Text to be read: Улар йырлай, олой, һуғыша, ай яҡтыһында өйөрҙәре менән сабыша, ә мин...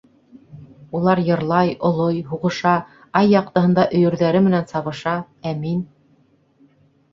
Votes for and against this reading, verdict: 2, 0, accepted